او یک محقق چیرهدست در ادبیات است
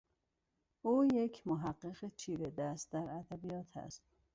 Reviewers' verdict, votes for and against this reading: accepted, 2, 0